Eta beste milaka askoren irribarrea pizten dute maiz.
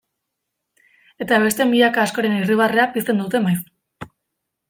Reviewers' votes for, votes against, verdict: 2, 0, accepted